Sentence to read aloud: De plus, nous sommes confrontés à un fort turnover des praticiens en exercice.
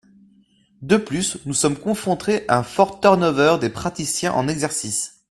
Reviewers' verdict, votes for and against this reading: rejected, 0, 2